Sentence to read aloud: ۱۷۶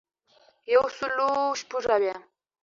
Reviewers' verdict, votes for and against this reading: rejected, 0, 2